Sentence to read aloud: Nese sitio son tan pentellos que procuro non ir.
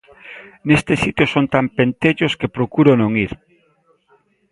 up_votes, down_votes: 0, 2